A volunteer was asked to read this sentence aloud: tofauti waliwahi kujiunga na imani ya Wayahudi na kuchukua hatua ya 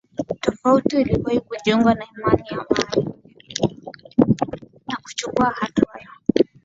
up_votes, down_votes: 0, 2